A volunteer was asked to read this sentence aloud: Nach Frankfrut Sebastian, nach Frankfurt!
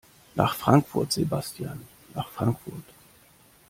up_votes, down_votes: 1, 2